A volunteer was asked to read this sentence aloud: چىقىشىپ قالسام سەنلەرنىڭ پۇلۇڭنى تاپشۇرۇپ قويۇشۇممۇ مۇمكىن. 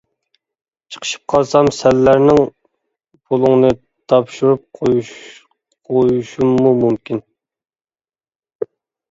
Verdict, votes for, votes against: rejected, 1, 2